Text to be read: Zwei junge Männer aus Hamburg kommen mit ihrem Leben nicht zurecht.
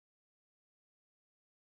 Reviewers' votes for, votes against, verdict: 0, 2, rejected